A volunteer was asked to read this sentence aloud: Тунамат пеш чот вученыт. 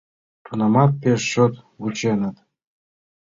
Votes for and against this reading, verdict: 2, 0, accepted